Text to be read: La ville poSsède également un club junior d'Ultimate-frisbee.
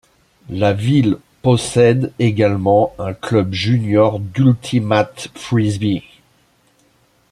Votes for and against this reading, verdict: 1, 2, rejected